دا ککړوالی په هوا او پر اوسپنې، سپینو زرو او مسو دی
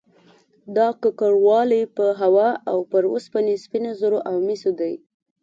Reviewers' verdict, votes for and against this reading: accepted, 2, 0